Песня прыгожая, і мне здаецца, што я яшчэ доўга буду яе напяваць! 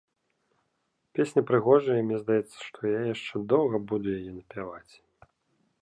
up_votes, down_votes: 2, 0